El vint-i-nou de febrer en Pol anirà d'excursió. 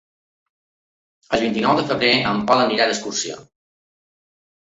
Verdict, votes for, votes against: accepted, 3, 0